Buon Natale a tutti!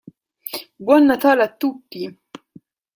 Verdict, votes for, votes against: accepted, 2, 0